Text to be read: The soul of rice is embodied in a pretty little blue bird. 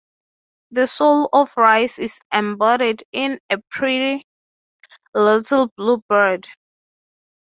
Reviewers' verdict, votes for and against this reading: accepted, 3, 0